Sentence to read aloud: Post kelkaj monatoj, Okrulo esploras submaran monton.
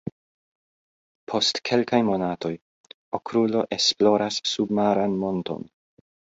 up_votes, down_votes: 2, 0